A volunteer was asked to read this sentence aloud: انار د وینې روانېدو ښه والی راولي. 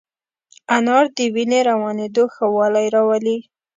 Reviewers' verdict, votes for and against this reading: accepted, 2, 0